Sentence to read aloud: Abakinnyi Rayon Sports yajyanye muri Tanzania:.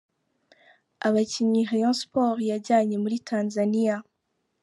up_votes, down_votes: 1, 2